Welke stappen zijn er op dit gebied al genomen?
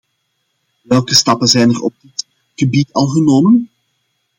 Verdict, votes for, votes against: rejected, 0, 2